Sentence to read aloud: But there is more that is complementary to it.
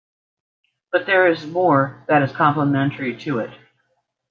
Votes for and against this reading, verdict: 2, 0, accepted